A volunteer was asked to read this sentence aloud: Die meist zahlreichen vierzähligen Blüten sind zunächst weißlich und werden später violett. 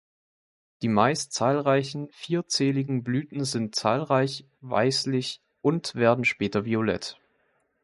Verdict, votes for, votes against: rejected, 0, 2